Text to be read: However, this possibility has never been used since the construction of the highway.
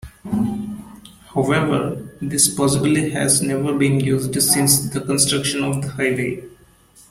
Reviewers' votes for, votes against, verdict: 0, 2, rejected